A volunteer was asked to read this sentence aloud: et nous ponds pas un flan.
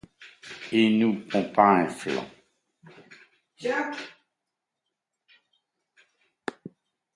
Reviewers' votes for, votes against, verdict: 1, 2, rejected